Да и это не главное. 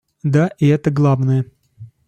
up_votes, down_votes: 0, 2